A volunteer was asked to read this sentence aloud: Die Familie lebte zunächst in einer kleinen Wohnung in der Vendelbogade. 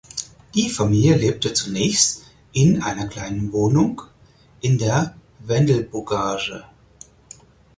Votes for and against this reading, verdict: 0, 4, rejected